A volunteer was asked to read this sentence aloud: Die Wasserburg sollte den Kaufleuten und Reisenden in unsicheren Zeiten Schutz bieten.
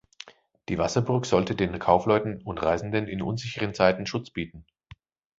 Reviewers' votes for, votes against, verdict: 2, 0, accepted